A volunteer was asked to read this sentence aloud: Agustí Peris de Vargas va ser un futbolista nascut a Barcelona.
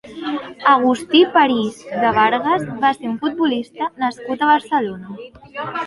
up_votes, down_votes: 0, 2